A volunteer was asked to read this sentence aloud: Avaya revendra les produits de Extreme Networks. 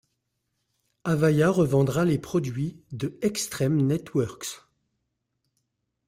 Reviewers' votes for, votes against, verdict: 2, 0, accepted